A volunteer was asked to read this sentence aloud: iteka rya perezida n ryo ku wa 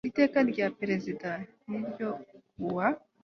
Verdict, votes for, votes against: accepted, 2, 0